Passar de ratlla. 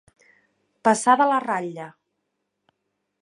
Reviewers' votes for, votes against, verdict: 0, 2, rejected